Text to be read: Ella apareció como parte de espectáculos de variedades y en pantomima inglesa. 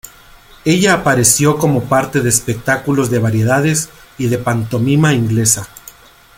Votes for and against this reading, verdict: 0, 2, rejected